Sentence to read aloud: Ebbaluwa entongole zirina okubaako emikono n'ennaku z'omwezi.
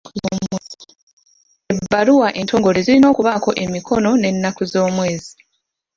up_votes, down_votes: 1, 2